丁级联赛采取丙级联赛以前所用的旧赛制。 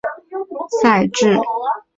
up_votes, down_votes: 1, 4